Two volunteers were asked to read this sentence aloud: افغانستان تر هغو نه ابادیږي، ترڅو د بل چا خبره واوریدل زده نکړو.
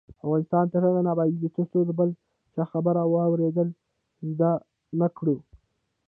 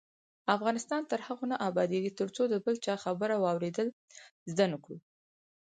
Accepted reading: second